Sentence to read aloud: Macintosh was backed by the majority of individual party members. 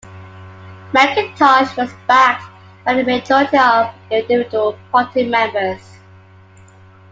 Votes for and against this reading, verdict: 2, 1, accepted